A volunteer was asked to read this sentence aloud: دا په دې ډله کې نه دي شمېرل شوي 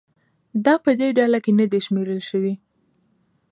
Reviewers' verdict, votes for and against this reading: accepted, 2, 0